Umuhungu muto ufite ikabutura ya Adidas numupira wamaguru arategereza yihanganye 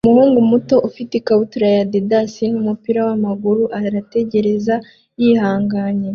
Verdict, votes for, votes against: accepted, 2, 0